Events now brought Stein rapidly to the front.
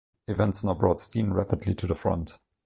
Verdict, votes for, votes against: rejected, 1, 2